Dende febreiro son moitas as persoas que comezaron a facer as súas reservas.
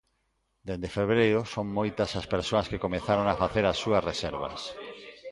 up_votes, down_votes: 0, 2